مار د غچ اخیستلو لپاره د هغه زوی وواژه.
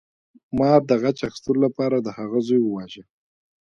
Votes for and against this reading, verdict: 1, 2, rejected